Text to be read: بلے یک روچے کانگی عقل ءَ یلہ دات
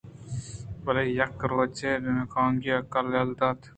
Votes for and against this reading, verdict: 1, 2, rejected